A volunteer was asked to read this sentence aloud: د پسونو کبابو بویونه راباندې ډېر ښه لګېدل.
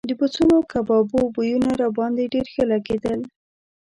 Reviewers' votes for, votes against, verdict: 0, 2, rejected